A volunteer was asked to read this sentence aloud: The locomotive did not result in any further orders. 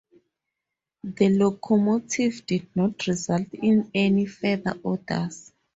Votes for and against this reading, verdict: 2, 2, rejected